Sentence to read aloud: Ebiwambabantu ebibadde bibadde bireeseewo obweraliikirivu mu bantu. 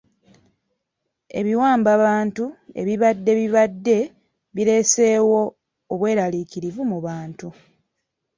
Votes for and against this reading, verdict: 2, 0, accepted